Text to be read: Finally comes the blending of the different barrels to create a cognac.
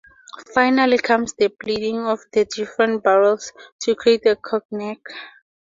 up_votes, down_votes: 0, 2